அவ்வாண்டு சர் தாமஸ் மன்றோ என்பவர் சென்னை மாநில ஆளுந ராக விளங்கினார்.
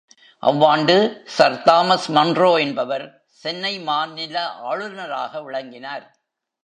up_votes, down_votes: 1, 2